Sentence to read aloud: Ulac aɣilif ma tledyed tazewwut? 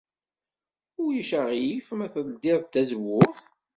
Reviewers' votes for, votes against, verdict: 1, 2, rejected